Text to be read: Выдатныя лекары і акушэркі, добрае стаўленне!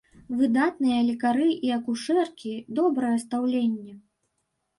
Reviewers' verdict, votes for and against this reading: rejected, 1, 2